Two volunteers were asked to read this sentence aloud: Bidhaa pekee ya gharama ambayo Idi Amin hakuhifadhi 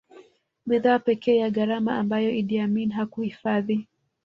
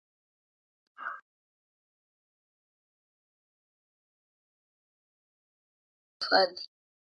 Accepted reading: first